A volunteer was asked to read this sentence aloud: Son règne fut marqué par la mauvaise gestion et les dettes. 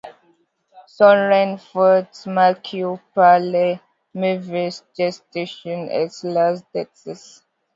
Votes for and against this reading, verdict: 0, 2, rejected